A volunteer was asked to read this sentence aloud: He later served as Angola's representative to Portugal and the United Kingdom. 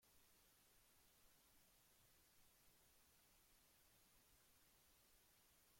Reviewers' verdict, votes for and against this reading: rejected, 0, 2